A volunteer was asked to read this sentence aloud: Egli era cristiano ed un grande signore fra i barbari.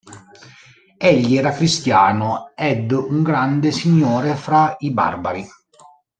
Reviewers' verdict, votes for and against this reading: rejected, 1, 2